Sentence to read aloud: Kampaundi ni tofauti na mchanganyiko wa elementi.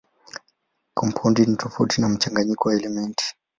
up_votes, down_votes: 14, 3